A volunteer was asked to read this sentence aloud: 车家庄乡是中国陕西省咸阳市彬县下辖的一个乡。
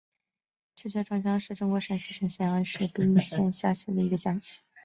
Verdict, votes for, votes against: rejected, 1, 2